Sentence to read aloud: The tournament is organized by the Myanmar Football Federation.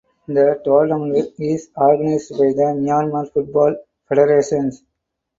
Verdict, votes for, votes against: rejected, 0, 4